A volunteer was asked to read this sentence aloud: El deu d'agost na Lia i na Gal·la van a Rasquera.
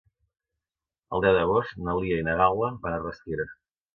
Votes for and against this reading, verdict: 2, 0, accepted